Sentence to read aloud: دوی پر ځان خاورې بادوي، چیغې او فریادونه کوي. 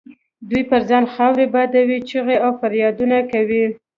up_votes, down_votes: 2, 0